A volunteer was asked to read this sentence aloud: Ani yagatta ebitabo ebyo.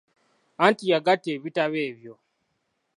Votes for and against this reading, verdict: 0, 2, rejected